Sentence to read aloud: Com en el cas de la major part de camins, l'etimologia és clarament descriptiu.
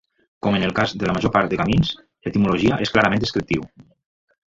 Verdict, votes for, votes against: rejected, 4, 5